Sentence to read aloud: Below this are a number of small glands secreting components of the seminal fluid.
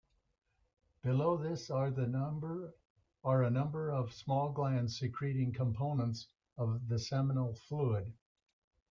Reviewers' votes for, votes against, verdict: 0, 2, rejected